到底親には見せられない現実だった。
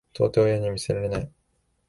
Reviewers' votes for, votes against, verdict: 0, 2, rejected